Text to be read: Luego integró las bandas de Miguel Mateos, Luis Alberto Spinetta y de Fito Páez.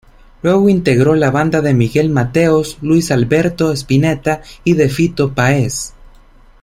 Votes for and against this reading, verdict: 1, 2, rejected